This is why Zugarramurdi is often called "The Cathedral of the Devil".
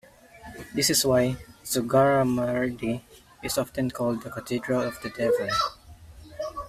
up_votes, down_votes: 2, 0